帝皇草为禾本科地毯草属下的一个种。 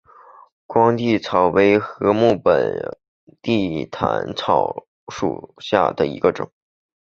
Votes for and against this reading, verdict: 0, 2, rejected